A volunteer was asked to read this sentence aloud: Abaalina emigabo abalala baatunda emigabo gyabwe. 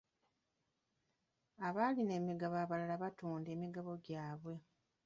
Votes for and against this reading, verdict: 0, 2, rejected